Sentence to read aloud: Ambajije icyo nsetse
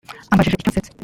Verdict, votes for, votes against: rejected, 1, 2